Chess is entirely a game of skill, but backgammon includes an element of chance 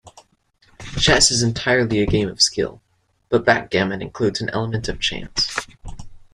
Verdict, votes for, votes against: accepted, 2, 0